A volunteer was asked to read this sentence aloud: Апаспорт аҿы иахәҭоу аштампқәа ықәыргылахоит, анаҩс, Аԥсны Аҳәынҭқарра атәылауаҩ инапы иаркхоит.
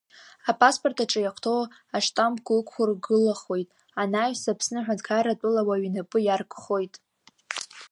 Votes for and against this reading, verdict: 1, 2, rejected